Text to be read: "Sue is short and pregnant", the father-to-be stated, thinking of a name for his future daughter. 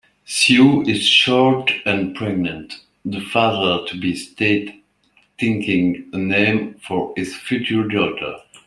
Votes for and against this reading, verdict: 0, 2, rejected